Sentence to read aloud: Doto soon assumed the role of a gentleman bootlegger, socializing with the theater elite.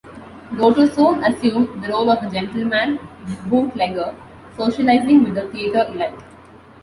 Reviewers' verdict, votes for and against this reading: accepted, 2, 0